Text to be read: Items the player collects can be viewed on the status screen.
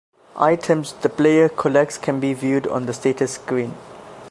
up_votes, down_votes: 2, 0